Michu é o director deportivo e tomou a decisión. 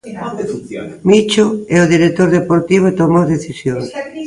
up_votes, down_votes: 0, 2